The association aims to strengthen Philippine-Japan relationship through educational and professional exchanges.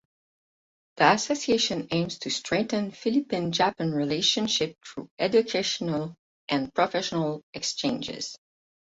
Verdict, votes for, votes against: rejected, 0, 4